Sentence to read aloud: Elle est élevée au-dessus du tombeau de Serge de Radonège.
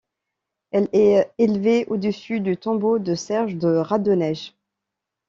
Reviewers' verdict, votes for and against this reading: accepted, 2, 0